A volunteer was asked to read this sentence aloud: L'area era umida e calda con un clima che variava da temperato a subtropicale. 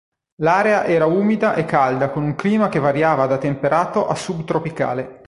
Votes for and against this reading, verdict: 3, 0, accepted